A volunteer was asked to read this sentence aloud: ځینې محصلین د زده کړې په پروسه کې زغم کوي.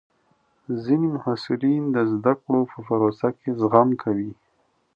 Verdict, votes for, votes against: rejected, 1, 2